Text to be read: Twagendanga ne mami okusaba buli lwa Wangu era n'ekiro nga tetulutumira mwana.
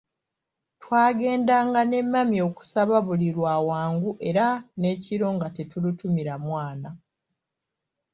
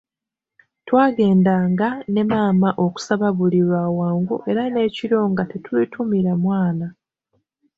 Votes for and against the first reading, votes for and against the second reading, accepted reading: 2, 0, 1, 2, first